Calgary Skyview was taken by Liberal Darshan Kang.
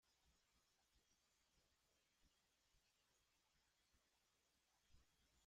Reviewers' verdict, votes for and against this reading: rejected, 0, 2